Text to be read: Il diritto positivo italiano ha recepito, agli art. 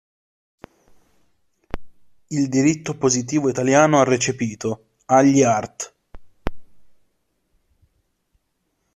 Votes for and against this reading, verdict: 2, 0, accepted